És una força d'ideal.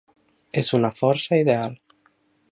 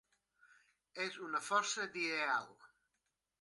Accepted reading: second